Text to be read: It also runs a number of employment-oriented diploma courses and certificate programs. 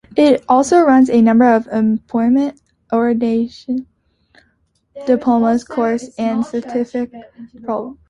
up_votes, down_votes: 0, 2